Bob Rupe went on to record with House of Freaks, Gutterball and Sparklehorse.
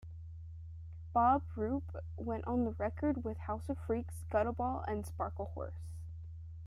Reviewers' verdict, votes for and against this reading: accepted, 2, 0